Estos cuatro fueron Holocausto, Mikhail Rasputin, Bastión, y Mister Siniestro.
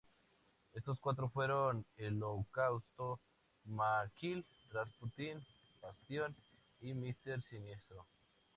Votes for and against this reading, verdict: 0, 2, rejected